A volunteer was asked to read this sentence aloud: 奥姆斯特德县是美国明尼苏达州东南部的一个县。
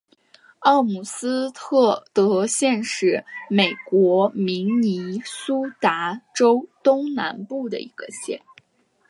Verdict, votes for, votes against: accepted, 2, 1